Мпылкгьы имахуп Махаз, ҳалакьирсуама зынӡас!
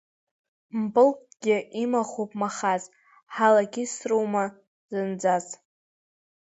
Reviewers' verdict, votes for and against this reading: rejected, 1, 2